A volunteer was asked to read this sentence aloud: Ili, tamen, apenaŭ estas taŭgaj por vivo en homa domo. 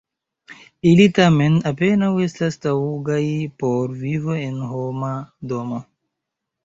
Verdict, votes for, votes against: rejected, 1, 2